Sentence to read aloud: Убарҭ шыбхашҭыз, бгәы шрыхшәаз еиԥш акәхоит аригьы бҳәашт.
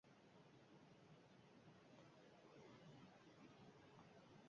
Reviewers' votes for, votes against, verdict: 1, 2, rejected